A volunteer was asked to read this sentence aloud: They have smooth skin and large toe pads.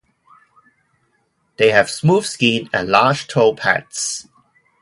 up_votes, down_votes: 2, 0